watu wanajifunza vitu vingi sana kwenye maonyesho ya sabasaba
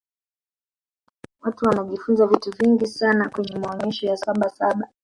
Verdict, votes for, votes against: accepted, 2, 0